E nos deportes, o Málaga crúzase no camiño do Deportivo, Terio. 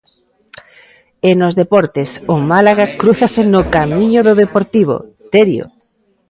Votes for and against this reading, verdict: 0, 2, rejected